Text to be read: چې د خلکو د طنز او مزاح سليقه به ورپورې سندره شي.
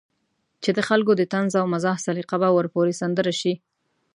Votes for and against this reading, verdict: 1, 2, rejected